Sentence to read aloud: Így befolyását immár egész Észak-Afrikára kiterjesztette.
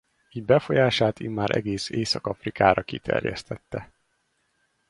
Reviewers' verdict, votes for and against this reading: rejected, 2, 2